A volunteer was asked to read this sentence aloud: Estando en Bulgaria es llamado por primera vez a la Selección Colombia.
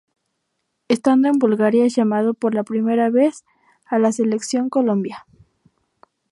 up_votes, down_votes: 2, 0